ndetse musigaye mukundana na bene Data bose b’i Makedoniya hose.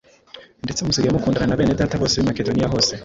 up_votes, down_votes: 2, 0